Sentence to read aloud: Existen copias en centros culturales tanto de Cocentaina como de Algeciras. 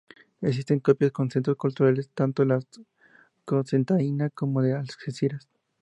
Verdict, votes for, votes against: accepted, 2, 0